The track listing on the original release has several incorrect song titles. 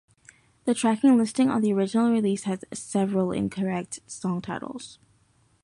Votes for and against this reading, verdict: 2, 0, accepted